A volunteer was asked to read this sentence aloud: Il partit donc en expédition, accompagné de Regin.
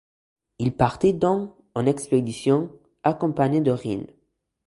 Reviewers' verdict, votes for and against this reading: rejected, 0, 2